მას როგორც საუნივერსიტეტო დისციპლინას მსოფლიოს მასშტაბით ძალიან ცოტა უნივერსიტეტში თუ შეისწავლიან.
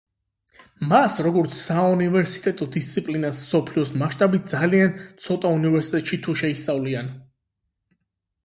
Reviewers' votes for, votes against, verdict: 8, 0, accepted